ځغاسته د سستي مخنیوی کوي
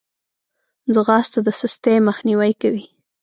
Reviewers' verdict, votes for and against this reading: accepted, 2, 0